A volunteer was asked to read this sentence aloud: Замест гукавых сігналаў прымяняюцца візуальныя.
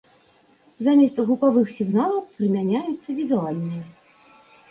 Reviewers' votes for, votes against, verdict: 2, 0, accepted